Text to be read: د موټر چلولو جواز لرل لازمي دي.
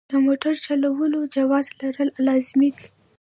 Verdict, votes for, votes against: accepted, 2, 0